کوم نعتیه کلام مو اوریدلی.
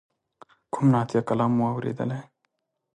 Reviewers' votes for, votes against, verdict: 2, 0, accepted